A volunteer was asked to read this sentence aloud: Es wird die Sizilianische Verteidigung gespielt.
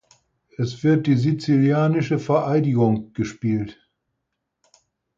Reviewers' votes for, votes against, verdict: 2, 4, rejected